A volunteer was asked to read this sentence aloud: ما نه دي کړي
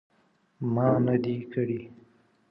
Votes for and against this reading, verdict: 2, 0, accepted